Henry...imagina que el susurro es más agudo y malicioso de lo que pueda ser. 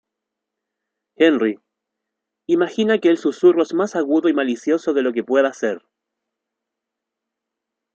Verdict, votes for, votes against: accepted, 2, 0